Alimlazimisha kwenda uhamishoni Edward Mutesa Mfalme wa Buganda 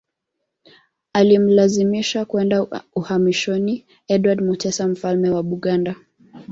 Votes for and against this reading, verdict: 2, 0, accepted